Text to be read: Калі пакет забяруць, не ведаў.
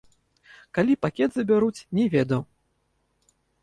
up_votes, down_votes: 2, 0